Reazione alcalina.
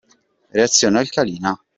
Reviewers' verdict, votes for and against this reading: accepted, 2, 0